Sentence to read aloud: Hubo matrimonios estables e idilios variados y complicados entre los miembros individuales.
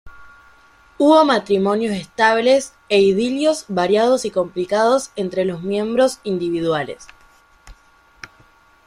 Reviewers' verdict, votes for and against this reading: rejected, 1, 2